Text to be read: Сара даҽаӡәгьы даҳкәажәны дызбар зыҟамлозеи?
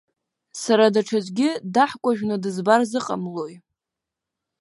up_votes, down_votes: 2, 0